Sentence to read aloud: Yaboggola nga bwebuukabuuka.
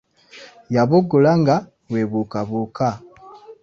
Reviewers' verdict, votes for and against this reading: rejected, 0, 2